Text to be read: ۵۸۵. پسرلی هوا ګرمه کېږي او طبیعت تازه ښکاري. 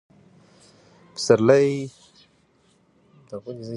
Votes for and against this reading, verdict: 0, 2, rejected